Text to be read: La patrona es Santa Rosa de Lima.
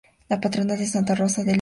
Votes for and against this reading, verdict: 0, 2, rejected